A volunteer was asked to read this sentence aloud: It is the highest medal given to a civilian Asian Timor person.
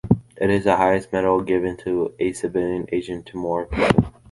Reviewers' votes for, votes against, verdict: 1, 2, rejected